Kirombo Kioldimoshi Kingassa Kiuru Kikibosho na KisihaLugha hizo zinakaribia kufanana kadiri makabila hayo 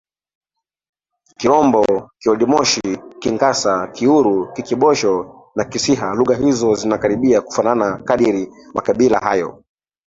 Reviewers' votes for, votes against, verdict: 2, 3, rejected